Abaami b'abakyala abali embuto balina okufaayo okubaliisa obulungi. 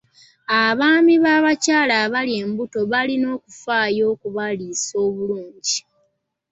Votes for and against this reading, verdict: 2, 0, accepted